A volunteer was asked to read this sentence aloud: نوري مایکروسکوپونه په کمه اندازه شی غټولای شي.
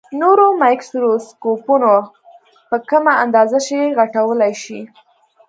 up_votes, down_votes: 1, 2